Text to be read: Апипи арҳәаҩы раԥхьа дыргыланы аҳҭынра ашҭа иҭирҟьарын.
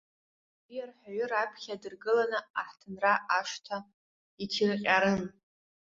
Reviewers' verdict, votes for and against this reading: rejected, 1, 2